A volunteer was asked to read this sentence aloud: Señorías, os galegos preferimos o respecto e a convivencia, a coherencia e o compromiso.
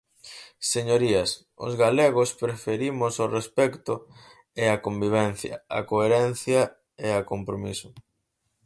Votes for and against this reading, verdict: 0, 4, rejected